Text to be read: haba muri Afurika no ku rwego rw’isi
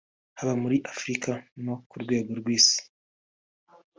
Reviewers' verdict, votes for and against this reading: accepted, 2, 0